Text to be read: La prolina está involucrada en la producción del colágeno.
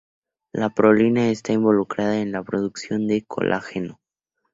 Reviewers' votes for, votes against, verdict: 0, 2, rejected